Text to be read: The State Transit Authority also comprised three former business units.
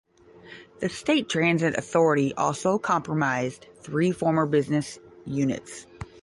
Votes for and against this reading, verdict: 5, 10, rejected